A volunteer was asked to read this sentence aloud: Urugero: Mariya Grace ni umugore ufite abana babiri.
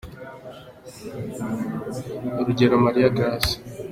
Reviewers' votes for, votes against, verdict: 0, 2, rejected